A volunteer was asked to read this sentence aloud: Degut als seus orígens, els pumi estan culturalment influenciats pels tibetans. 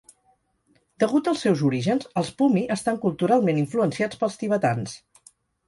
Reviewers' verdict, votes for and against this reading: accepted, 4, 0